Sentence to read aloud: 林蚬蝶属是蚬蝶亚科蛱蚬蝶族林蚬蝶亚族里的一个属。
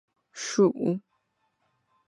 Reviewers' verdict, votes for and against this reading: rejected, 0, 2